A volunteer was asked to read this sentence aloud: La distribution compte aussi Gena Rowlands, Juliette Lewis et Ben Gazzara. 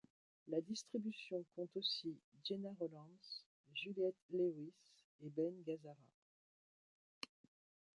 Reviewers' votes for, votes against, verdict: 0, 2, rejected